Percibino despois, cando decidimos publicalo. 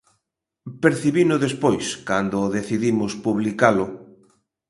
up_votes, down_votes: 2, 0